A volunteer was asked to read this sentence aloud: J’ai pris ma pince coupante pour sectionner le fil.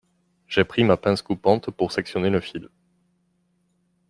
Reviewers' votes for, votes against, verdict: 2, 0, accepted